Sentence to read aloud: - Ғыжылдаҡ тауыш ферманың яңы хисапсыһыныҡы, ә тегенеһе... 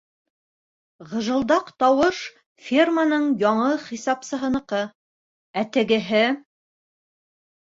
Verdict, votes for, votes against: rejected, 0, 2